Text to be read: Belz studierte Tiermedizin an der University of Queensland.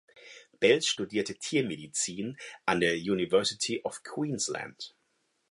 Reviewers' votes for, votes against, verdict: 4, 0, accepted